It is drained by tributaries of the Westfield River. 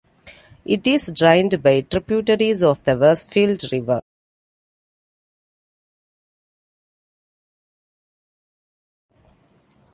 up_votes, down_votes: 2, 0